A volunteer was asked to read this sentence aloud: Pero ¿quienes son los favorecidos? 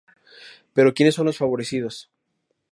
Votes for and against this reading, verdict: 2, 0, accepted